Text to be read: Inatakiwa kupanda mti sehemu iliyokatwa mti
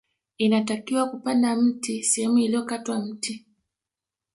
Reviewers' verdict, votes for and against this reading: accepted, 2, 0